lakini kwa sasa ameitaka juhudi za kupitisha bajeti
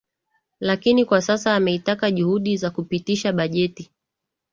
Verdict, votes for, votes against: accepted, 6, 1